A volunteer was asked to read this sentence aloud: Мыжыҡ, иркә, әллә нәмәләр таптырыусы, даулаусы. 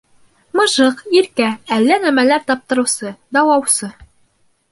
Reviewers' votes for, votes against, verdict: 2, 1, accepted